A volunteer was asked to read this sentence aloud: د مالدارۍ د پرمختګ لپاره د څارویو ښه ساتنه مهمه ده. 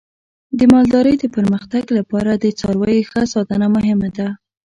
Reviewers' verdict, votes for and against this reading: accepted, 2, 0